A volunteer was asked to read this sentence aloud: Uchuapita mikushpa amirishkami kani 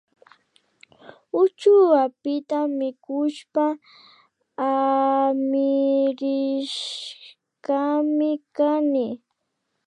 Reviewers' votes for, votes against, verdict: 0, 2, rejected